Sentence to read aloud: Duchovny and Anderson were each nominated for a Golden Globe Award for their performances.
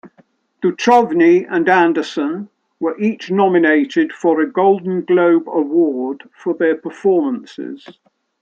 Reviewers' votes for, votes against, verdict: 0, 2, rejected